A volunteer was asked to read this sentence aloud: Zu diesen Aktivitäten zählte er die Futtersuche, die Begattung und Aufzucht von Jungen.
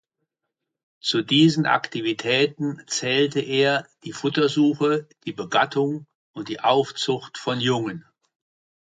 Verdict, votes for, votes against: rejected, 1, 2